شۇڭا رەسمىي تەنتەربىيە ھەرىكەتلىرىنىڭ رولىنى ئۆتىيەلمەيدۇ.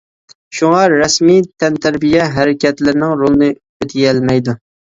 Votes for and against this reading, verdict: 2, 0, accepted